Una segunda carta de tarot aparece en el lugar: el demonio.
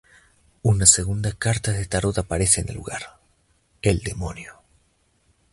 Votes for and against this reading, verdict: 2, 0, accepted